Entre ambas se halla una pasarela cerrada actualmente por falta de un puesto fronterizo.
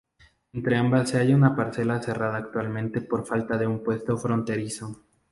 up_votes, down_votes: 4, 0